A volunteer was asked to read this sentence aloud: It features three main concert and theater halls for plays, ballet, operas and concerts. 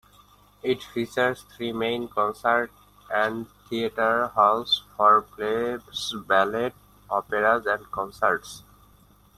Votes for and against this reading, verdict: 1, 2, rejected